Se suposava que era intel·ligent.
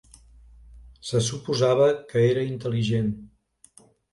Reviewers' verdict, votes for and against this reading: accepted, 2, 0